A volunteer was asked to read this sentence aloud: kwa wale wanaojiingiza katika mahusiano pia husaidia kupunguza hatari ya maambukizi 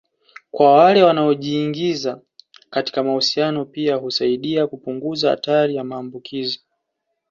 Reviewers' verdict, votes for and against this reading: accepted, 2, 0